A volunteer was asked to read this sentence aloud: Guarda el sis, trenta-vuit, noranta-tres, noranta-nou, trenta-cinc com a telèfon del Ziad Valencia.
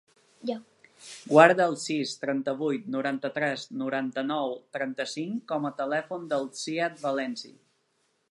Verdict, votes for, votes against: rejected, 0, 2